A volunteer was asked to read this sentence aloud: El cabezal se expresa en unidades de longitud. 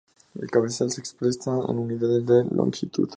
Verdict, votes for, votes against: accepted, 2, 0